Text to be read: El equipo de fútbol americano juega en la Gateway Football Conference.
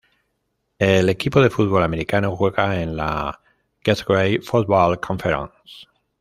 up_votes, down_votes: 2, 1